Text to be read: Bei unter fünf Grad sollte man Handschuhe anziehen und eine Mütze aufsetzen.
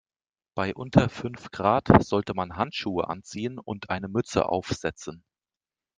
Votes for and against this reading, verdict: 2, 0, accepted